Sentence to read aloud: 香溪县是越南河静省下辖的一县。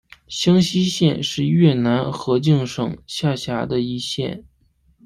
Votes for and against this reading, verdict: 2, 0, accepted